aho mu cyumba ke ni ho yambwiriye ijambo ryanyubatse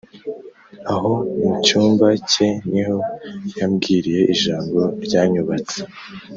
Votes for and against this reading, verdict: 2, 0, accepted